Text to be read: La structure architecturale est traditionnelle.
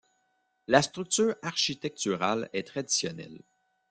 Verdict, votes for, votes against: rejected, 1, 2